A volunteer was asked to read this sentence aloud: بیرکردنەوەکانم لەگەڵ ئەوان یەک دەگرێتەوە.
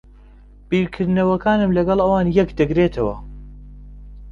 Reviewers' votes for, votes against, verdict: 2, 0, accepted